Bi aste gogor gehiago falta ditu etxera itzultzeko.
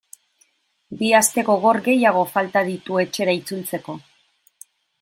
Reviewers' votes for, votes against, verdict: 2, 0, accepted